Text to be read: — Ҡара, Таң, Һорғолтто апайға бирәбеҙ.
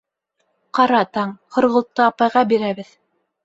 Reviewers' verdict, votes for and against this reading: accepted, 2, 0